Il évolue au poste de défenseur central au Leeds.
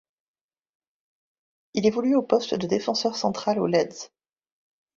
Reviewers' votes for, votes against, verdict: 1, 2, rejected